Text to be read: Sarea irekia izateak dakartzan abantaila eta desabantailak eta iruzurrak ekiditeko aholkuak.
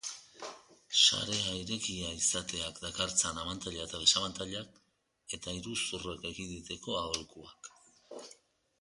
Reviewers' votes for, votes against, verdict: 2, 1, accepted